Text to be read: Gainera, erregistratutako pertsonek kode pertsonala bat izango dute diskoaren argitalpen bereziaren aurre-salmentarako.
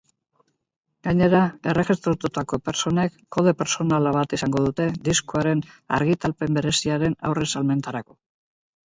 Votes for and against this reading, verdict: 2, 0, accepted